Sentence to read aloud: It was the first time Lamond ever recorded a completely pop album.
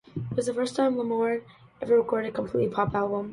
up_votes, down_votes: 2, 0